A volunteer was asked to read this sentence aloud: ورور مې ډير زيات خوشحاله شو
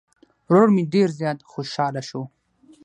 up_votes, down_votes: 3, 3